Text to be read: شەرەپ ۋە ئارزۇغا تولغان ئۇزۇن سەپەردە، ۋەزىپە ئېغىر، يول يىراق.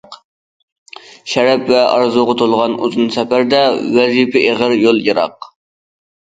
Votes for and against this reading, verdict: 2, 0, accepted